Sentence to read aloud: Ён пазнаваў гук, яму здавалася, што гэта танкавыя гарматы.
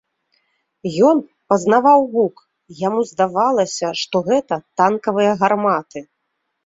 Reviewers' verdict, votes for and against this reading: accepted, 2, 0